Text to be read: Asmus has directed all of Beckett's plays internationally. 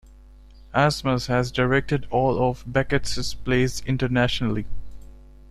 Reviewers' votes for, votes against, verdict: 2, 1, accepted